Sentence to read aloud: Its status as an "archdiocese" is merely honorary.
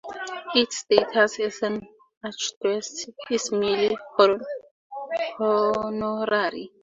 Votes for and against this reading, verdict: 0, 4, rejected